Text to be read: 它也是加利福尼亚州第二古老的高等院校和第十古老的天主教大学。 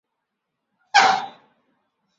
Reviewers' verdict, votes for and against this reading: rejected, 1, 2